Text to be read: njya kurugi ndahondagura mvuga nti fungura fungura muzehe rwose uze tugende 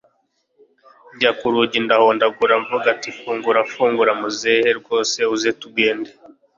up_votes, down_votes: 2, 0